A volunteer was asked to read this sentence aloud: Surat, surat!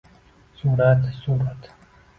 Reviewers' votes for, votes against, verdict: 1, 2, rejected